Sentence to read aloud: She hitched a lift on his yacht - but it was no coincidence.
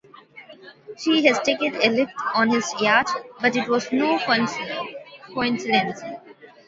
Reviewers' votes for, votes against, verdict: 1, 2, rejected